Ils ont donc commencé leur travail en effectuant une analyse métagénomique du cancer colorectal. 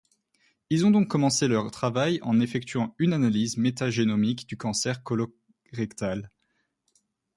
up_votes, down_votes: 0, 2